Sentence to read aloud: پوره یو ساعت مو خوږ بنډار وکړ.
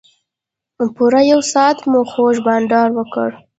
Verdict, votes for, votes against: rejected, 0, 2